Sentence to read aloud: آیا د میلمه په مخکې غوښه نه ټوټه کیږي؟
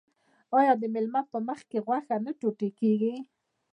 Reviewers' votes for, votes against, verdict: 1, 2, rejected